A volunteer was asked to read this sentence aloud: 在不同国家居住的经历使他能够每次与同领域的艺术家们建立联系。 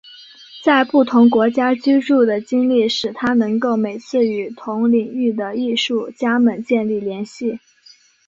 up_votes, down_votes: 2, 0